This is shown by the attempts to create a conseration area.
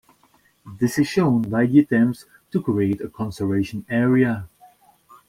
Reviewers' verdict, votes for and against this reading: rejected, 0, 2